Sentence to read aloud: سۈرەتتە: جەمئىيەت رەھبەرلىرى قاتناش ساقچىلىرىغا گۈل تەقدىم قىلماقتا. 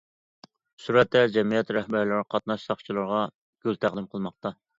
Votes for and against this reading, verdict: 2, 0, accepted